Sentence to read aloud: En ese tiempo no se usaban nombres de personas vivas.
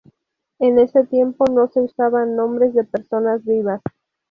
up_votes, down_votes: 0, 2